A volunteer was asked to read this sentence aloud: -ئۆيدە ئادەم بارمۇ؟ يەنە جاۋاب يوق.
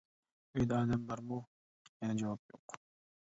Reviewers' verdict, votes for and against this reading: rejected, 1, 2